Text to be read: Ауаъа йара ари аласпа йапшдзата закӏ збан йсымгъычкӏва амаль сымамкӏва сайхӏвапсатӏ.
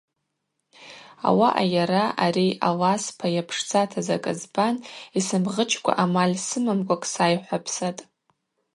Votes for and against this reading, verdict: 0, 2, rejected